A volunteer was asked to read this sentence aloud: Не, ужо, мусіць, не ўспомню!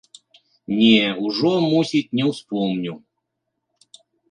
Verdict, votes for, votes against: accepted, 2, 0